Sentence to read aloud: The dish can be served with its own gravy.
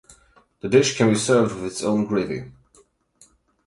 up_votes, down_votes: 8, 0